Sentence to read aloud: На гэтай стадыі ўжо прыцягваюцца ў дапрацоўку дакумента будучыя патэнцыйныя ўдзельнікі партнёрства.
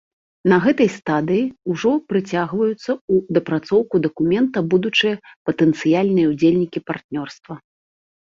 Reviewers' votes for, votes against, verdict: 1, 2, rejected